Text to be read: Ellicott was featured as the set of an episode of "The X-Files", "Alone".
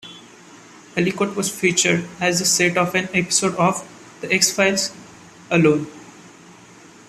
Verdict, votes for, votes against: accepted, 2, 0